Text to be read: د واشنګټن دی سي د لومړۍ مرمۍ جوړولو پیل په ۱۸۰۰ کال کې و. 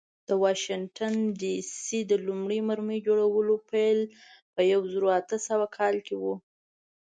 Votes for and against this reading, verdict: 0, 2, rejected